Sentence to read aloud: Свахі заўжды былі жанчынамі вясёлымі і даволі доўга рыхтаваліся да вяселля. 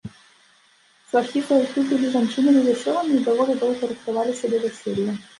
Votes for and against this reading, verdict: 2, 3, rejected